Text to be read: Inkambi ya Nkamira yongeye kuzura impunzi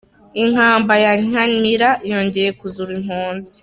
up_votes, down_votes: 0, 2